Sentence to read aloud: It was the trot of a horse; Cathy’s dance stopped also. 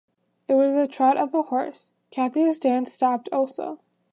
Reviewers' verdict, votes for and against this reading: accepted, 2, 0